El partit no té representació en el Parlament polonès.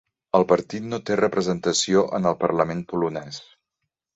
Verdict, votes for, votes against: accepted, 3, 0